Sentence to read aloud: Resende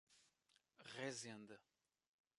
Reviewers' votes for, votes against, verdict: 1, 2, rejected